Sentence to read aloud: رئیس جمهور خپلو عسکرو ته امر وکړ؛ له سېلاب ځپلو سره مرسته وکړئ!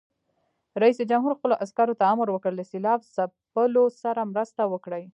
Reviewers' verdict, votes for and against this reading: rejected, 1, 2